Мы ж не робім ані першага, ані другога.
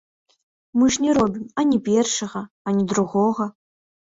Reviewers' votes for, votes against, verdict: 1, 2, rejected